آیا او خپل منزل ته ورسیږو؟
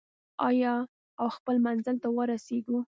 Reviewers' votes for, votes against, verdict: 2, 0, accepted